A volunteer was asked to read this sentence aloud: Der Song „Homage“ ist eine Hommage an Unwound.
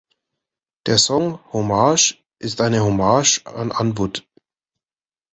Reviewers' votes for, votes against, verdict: 1, 2, rejected